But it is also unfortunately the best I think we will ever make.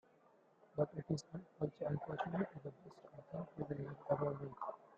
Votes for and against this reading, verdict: 0, 2, rejected